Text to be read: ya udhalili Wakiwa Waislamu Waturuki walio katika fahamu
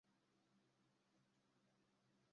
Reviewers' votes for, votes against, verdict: 0, 2, rejected